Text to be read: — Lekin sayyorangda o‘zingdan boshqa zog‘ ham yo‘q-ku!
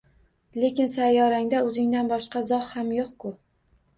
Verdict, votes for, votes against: accepted, 2, 0